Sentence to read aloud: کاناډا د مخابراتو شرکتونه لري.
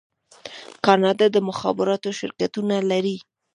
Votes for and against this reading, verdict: 2, 0, accepted